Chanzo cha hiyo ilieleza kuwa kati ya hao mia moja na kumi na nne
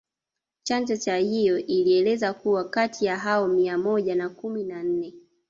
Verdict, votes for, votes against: rejected, 0, 2